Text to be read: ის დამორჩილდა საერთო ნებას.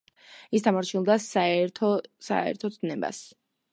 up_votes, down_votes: 1, 2